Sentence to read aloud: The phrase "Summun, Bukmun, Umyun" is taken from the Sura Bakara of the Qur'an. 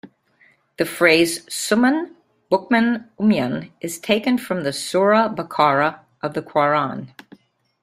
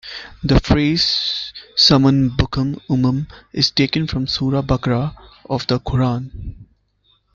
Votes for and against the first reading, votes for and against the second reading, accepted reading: 2, 1, 1, 2, first